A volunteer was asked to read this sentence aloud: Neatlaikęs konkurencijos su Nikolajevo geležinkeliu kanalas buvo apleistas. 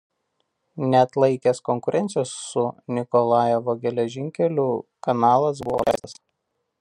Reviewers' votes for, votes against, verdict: 1, 2, rejected